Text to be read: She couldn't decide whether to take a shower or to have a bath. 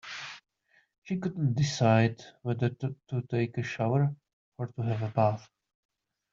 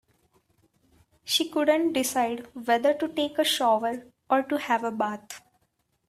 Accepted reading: second